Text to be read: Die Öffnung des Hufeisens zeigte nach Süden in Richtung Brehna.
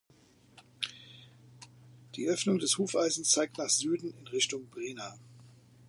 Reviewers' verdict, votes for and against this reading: rejected, 0, 2